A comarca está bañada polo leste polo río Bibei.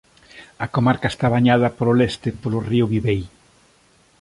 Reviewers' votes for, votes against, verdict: 2, 0, accepted